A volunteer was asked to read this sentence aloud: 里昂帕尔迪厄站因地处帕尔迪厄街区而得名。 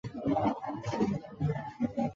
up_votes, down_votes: 1, 2